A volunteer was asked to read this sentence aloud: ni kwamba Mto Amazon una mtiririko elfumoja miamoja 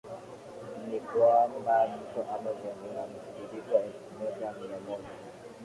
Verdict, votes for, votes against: rejected, 7, 11